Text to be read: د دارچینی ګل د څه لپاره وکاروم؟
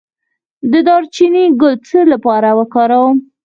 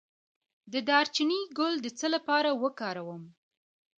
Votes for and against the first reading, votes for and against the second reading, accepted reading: 0, 4, 2, 0, second